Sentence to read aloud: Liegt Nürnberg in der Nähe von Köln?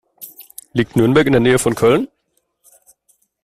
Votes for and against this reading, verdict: 2, 1, accepted